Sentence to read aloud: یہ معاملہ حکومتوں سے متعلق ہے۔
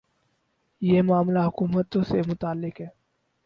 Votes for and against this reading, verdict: 4, 0, accepted